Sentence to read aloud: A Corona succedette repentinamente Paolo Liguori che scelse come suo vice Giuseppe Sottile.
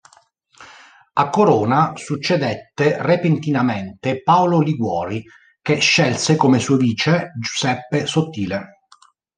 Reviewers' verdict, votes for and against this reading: accepted, 2, 0